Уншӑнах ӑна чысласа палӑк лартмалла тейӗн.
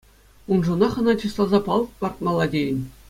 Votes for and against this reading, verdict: 2, 0, accepted